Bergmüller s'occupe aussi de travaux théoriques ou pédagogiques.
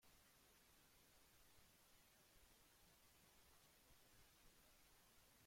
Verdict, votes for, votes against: rejected, 0, 2